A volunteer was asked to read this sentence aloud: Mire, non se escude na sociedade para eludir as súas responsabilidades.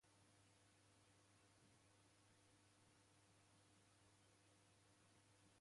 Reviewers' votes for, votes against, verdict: 0, 2, rejected